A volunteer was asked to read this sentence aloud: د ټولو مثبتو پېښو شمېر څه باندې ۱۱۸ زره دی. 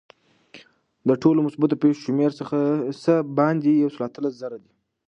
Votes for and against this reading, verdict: 0, 2, rejected